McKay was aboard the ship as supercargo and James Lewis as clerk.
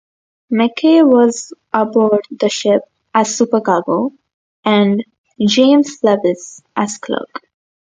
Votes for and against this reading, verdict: 0, 2, rejected